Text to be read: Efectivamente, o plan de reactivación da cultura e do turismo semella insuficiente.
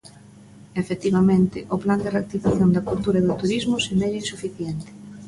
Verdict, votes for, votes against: accepted, 2, 0